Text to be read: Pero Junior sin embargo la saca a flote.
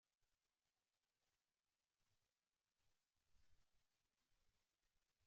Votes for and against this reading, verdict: 0, 2, rejected